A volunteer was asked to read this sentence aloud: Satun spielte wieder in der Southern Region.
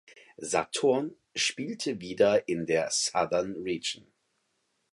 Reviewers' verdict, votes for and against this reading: rejected, 2, 4